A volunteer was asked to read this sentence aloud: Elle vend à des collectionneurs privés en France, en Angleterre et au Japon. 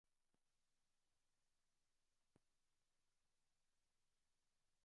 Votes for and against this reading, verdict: 0, 2, rejected